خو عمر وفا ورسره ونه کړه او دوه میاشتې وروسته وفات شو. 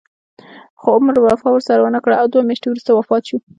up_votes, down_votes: 1, 2